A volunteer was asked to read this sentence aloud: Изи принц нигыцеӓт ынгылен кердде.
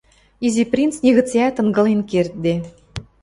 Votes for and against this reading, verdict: 2, 0, accepted